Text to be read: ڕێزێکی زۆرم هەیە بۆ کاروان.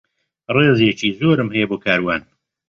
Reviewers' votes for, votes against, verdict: 3, 0, accepted